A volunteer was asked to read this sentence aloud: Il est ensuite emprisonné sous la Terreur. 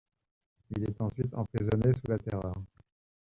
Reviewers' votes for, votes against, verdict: 1, 2, rejected